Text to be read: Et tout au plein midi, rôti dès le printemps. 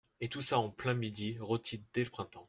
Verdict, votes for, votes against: rejected, 0, 2